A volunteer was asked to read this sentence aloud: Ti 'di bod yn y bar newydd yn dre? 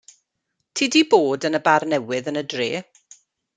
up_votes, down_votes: 1, 2